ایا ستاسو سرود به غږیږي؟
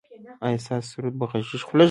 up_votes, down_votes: 3, 0